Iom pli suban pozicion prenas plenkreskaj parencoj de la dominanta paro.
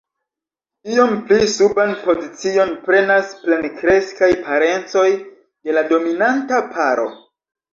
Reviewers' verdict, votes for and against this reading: rejected, 0, 2